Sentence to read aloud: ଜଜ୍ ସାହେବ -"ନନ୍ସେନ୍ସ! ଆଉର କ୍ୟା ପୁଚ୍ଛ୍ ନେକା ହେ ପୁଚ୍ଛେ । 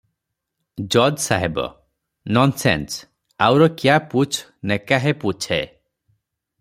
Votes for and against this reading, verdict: 3, 0, accepted